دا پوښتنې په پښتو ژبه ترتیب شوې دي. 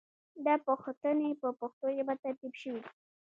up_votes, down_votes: 2, 0